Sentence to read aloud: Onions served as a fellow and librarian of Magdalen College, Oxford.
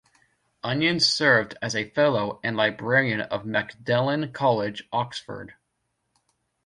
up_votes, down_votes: 2, 1